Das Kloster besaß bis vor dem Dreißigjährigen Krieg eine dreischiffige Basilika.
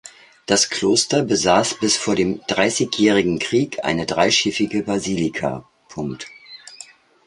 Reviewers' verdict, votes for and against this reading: rejected, 1, 2